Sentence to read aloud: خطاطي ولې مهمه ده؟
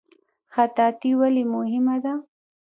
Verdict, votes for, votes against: rejected, 1, 2